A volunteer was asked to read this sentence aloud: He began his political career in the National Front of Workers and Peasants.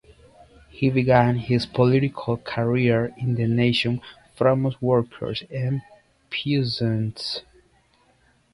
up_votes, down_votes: 0, 2